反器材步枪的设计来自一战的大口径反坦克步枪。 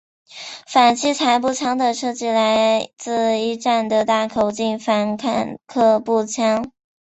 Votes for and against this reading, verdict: 2, 0, accepted